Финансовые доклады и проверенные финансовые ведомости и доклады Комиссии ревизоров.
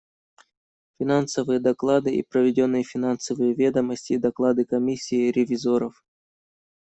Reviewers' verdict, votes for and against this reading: rejected, 1, 2